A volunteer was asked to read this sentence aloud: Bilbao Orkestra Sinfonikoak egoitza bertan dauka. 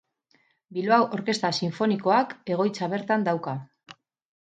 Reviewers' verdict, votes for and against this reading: rejected, 0, 2